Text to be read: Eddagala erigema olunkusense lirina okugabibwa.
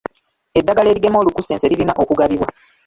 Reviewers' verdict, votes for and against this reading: accepted, 2, 1